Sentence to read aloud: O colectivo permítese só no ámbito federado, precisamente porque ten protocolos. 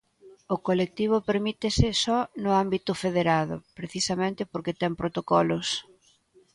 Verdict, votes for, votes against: accepted, 2, 0